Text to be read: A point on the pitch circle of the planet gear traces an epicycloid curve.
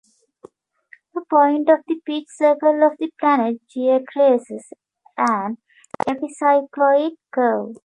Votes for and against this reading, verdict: 1, 2, rejected